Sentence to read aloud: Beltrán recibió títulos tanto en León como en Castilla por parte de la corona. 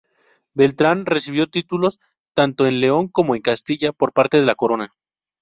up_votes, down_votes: 2, 0